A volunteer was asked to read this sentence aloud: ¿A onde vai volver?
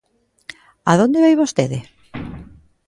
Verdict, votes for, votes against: rejected, 0, 2